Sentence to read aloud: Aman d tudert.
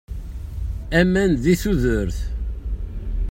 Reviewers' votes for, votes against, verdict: 1, 2, rejected